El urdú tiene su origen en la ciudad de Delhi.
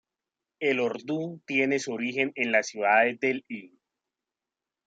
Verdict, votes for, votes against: accepted, 2, 1